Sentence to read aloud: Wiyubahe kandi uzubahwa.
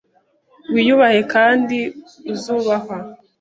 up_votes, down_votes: 2, 0